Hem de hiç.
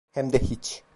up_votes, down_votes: 2, 0